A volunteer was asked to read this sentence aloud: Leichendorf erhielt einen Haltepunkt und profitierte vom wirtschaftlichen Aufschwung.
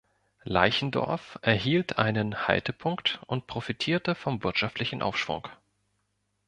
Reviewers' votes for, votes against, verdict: 2, 0, accepted